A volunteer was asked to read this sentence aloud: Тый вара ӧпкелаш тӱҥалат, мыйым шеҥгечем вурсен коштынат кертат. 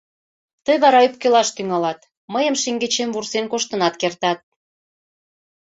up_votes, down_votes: 2, 0